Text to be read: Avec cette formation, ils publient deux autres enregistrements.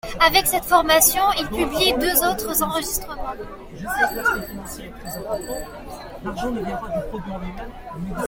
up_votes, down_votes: 0, 2